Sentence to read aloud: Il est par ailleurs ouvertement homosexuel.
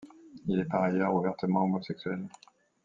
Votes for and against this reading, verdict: 1, 2, rejected